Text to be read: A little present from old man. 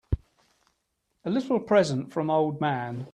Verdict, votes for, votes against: accepted, 2, 0